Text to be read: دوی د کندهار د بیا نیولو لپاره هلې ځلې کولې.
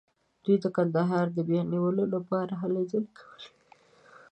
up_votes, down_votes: 2, 0